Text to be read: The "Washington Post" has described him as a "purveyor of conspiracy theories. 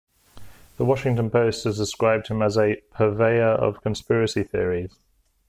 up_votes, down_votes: 2, 0